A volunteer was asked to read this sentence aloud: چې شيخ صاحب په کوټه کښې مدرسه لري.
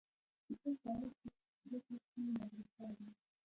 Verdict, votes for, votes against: rejected, 0, 2